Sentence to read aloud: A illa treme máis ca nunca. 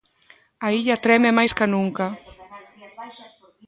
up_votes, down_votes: 1, 2